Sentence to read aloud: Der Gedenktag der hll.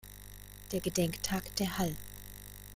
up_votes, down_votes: 1, 2